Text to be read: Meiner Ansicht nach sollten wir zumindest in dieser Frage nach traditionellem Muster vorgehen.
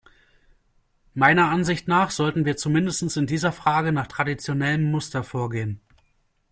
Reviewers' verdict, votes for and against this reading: accepted, 2, 0